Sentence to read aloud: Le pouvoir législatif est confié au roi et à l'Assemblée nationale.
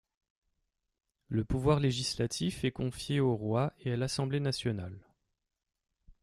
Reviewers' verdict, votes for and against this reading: accepted, 3, 0